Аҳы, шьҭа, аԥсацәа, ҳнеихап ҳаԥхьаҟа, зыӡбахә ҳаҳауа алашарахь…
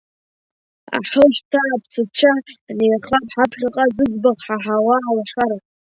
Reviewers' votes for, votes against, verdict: 2, 1, accepted